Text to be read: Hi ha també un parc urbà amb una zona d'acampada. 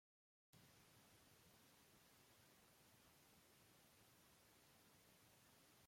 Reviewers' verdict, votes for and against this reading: rejected, 0, 2